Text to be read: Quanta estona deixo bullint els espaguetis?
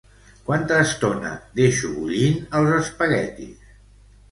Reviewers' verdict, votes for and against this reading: rejected, 1, 2